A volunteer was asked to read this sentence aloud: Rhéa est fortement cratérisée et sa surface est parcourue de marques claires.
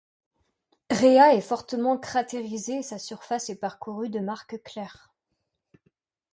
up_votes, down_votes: 2, 0